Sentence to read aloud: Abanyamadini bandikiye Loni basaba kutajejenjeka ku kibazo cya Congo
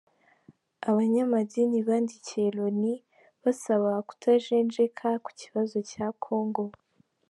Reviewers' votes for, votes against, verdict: 0, 2, rejected